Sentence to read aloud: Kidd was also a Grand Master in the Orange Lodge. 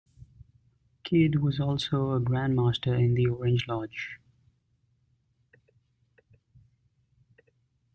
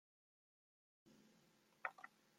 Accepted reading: first